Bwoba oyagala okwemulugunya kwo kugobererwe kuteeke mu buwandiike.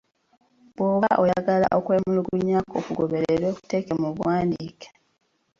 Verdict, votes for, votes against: accepted, 2, 1